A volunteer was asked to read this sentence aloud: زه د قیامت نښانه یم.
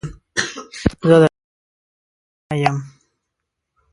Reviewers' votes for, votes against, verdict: 0, 2, rejected